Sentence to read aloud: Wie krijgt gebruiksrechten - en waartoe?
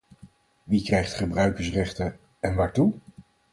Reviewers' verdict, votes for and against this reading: rejected, 0, 4